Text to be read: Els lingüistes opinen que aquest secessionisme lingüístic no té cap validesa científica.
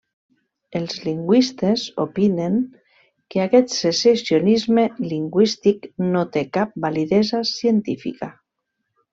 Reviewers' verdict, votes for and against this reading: rejected, 1, 2